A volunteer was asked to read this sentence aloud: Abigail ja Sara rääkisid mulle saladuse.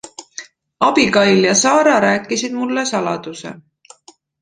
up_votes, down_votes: 2, 0